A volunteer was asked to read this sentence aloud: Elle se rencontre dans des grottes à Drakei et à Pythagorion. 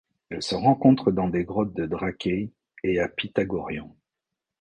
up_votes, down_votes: 1, 2